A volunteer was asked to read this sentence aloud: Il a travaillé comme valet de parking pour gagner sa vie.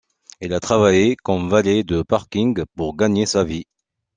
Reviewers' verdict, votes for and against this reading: accepted, 2, 0